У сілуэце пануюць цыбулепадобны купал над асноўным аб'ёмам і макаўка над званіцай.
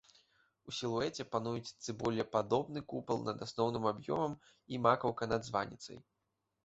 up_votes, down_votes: 2, 1